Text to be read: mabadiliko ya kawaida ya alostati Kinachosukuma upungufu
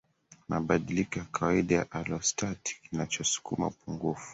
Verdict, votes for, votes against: accepted, 2, 1